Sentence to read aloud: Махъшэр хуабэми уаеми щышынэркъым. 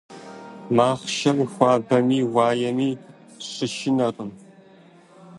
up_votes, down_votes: 2, 1